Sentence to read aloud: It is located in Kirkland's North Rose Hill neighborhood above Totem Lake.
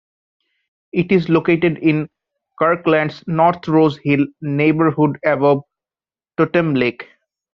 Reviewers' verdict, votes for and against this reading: rejected, 1, 2